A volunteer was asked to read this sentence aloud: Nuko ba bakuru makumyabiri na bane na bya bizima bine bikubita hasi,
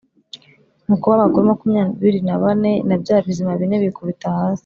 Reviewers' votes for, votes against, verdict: 2, 0, accepted